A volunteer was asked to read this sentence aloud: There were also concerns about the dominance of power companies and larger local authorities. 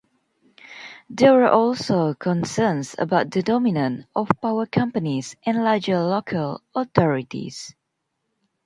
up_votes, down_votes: 0, 2